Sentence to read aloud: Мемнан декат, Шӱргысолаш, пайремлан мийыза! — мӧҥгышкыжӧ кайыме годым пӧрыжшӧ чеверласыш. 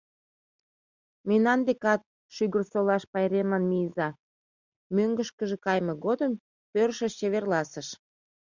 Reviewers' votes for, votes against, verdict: 0, 2, rejected